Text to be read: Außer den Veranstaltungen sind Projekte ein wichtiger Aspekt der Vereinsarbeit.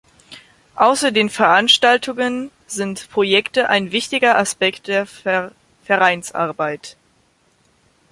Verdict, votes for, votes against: rejected, 0, 2